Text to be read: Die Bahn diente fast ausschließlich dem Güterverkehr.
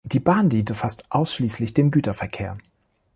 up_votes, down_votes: 2, 0